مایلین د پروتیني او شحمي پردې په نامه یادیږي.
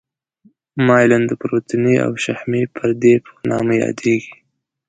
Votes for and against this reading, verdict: 2, 0, accepted